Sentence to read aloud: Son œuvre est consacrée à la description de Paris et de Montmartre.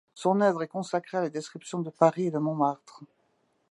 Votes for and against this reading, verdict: 2, 0, accepted